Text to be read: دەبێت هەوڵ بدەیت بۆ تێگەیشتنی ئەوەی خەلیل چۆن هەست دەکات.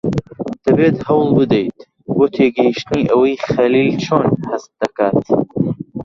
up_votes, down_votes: 1, 2